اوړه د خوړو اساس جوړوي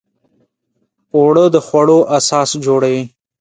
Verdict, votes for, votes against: accepted, 3, 0